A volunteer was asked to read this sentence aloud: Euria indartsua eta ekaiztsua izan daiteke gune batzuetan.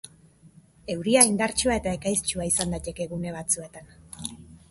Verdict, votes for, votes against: accepted, 2, 0